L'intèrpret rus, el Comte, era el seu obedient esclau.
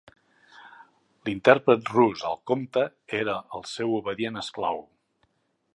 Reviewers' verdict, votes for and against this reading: accepted, 3, 0